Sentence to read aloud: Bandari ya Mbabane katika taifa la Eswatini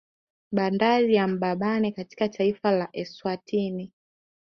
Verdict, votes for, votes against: accepted, 2, 1